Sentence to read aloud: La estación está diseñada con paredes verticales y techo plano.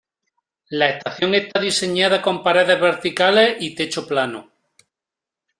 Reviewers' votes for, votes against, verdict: 2, 1, accepted